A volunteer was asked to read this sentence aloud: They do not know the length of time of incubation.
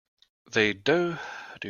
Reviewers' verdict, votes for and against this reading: rejected, 0, 2